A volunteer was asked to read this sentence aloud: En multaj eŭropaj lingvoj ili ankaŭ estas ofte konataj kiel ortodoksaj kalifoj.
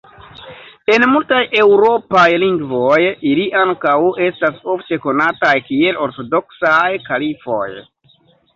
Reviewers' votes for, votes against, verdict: 2, 0, accepted